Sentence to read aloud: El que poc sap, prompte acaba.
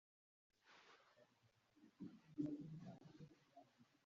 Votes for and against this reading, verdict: 0, 2, rejected